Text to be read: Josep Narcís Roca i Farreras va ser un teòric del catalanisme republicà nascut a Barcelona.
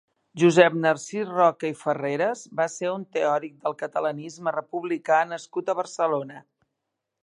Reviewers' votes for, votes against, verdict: 2, 0, accepted